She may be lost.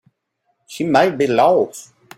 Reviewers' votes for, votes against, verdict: 1, 2, rejected